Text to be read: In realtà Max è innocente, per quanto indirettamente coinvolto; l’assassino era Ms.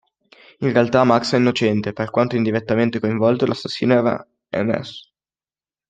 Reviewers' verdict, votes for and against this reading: accepted, 2, 0